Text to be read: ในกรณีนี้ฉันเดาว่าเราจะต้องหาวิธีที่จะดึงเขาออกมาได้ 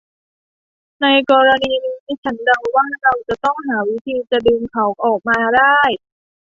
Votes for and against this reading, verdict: 0, 2, rejected